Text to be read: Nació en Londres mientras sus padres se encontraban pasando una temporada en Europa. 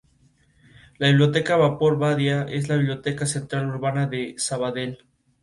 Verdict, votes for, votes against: rejected, 0, 2